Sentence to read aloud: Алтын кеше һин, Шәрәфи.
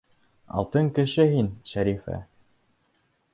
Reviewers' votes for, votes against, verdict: 1, 3, rejected